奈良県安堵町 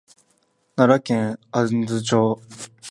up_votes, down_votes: 2, 0